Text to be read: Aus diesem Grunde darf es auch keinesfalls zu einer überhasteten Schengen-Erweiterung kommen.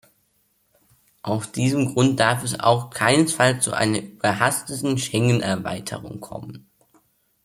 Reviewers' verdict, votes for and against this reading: rejected, 1, 2